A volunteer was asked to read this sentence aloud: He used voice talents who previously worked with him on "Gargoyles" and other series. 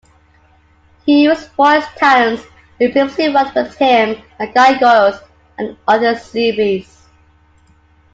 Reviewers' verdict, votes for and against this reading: accepted, 2, 0